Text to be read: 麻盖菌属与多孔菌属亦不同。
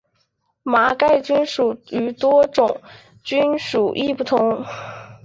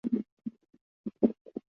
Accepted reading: first